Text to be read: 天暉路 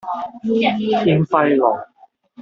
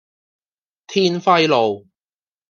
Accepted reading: second